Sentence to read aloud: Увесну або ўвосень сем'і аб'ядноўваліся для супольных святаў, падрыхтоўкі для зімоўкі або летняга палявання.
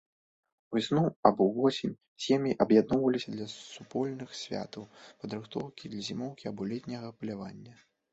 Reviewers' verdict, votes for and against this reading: accepted, 2, 1